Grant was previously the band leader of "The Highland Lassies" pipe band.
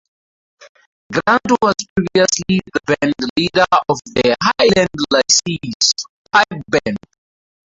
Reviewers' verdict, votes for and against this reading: accepted, 2, 0